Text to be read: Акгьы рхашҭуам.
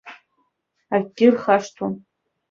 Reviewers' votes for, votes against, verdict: 1, 2, rejected